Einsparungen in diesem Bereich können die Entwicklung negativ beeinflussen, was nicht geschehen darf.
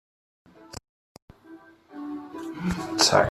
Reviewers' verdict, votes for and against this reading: rejected, 0, 2